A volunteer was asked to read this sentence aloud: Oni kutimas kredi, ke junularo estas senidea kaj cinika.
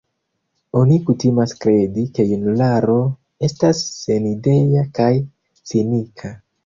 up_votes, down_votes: 2, 0